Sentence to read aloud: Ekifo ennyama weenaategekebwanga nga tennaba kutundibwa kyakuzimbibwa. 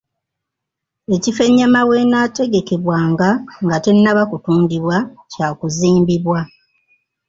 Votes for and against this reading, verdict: 2, 0, accepted